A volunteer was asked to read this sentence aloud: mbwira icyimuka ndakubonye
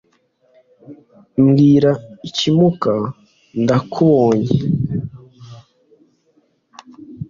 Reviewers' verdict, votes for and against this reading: accepted, 2, 0